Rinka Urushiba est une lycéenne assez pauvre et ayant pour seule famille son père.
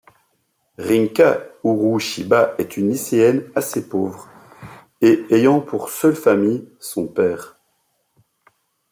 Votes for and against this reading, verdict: 2, 0, accepted